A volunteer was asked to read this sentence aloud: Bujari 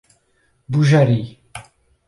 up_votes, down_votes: 4, 0